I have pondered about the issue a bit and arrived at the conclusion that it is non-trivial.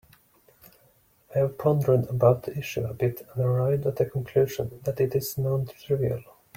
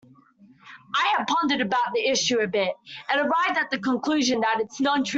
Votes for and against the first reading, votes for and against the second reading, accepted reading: 2, 0, 0, 2, first